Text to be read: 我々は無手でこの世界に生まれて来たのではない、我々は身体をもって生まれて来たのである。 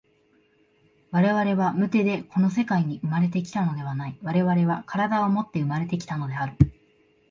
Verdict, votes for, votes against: accepted, 2, 1